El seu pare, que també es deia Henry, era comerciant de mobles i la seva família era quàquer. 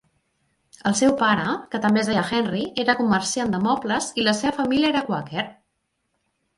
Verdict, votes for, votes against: accepted, 3, 1